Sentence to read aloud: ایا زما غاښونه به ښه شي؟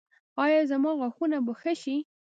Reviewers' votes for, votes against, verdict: 2, 0, accepted